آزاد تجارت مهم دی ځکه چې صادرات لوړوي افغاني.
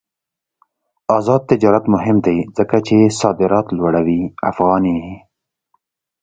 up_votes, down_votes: 2, 0